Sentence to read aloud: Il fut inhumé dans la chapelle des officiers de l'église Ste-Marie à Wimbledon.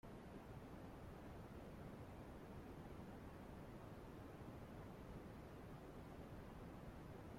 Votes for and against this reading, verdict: 0, 2, rejected